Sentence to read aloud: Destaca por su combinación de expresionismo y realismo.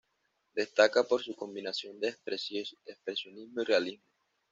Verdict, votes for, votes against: rejected, 1, 2